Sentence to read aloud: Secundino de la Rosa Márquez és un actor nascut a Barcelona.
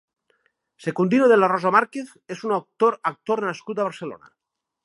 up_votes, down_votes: 0, 2